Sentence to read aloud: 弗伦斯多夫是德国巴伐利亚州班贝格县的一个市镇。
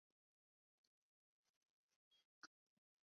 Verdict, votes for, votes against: rejected, 1, 4